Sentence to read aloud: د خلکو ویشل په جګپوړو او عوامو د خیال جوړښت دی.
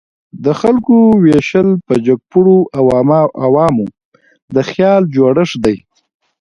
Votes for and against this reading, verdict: 0, 2, rejected